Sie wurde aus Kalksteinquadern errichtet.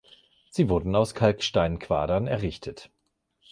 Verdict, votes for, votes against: rejected, 1, 2